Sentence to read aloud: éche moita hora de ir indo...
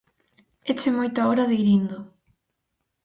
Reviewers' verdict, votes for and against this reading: accepted, 4, 0